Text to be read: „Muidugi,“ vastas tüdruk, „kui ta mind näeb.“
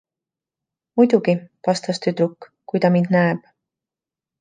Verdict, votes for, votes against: accepted, 2, 0